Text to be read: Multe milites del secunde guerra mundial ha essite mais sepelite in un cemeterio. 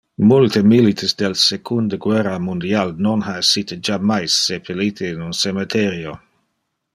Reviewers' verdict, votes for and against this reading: rejected, 0, 2